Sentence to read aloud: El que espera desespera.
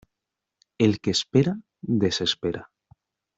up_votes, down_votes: 2, 0